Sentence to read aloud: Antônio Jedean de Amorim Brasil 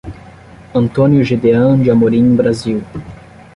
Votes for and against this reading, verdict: 15, 5, accepted